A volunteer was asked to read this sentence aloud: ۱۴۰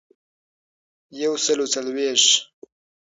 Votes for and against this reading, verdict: 0, 2, rejected